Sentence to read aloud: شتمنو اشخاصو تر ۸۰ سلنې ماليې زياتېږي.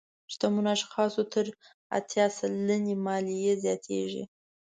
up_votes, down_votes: 0, 2